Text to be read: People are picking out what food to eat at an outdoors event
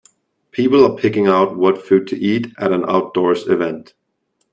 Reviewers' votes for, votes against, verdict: 2, 0, accepted